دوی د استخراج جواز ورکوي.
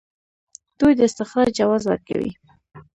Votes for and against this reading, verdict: 3, 1, accepted